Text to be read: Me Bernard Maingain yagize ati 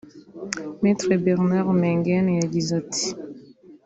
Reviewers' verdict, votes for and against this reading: accepted, 2, 0